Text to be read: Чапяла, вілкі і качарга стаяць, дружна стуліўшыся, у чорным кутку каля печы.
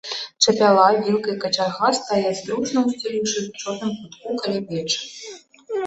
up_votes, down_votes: 0, 2